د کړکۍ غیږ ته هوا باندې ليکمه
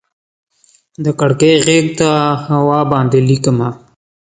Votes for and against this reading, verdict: 2, 0, accepted